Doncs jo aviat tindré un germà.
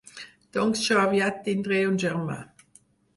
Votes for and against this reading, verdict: 4, 0, accepted